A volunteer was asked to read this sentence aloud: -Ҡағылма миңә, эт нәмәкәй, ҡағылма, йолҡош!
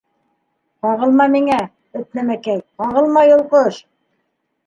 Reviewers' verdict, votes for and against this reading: rejected, 1, 2